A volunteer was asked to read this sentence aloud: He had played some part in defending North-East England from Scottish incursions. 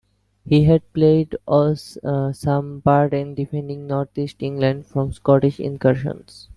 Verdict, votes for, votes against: rejected, 1, 2